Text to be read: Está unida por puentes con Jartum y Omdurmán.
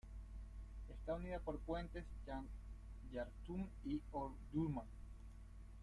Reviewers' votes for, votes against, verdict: 0, 2, rejected